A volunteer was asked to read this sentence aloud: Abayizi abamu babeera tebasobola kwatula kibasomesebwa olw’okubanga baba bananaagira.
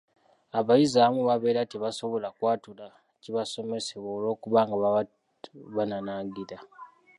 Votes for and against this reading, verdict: 2, 0, accepted